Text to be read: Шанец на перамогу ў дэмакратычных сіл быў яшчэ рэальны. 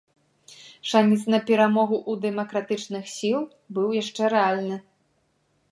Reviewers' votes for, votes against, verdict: 0, 2, rejected